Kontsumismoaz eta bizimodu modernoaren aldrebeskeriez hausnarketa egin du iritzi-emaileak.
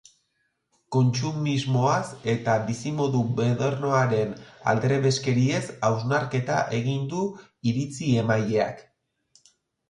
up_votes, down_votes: 0, 2